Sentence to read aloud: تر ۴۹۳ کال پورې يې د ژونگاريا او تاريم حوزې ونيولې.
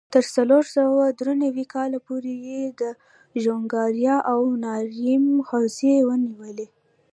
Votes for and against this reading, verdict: 0, 2, rejected